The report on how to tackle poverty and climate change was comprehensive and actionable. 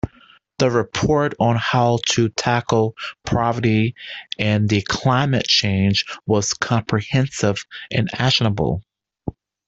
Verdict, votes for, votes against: rejected, 1, 2